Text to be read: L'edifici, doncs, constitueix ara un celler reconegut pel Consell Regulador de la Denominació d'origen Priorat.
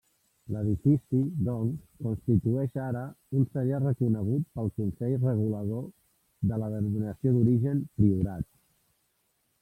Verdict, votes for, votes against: rejected, 1, 2